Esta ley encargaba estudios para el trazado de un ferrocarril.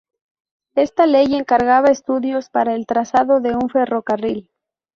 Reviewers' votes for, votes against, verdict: 4, 0, accepted